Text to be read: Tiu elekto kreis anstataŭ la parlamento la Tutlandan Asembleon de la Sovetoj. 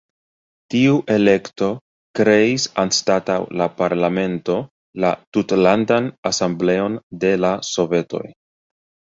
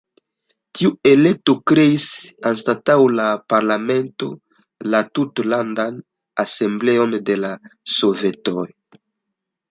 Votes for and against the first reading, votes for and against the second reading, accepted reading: 0, 2, 2, 1, second